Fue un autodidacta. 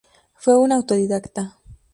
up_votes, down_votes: 2, 0